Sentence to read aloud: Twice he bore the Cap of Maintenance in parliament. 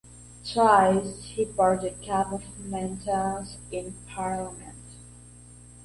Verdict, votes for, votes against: rejected, 1, 2